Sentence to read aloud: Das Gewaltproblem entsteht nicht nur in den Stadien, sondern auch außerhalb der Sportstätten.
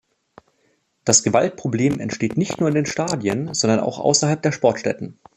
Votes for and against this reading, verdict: 3, 0, accepted